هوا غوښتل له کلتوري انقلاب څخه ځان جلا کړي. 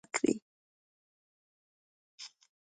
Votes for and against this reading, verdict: 1, 2, rejected